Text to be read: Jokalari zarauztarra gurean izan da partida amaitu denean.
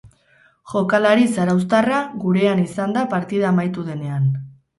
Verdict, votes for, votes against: accepted, 4, 0